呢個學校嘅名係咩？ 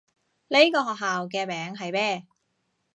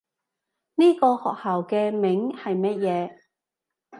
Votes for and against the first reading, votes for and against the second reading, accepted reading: 2, 0, 0, 2, first